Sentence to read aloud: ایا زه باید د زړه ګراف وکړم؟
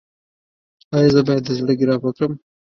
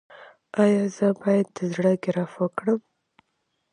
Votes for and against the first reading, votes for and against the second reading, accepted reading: 1, 2, 2, 0, second